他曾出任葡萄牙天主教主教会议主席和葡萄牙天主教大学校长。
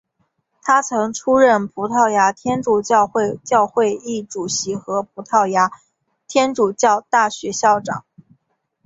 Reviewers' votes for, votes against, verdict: 2, 0, accepted